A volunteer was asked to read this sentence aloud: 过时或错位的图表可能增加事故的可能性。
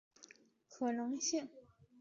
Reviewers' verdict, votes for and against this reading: rejected, 0, 5